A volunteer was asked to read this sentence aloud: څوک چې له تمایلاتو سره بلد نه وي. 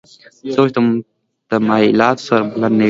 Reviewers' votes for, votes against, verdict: 0, 2, rejected